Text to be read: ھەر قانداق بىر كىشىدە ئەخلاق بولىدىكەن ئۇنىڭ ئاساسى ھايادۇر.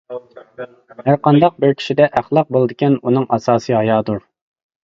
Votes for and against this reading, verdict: 2, 0, accepted